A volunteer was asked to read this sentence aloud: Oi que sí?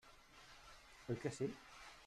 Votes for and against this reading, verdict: 1, 2, rejected